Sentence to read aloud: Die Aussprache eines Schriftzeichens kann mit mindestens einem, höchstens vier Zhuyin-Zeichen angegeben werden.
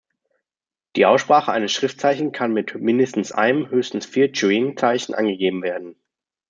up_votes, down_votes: 0, 2